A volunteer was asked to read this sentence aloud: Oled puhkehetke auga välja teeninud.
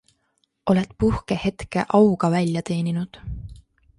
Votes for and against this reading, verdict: 2, 1, accepted